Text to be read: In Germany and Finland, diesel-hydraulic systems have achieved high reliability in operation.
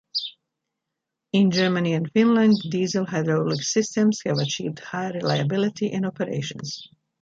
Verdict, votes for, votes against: rejected, 1, 2